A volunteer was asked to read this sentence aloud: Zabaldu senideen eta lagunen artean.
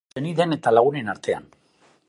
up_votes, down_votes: 0, 2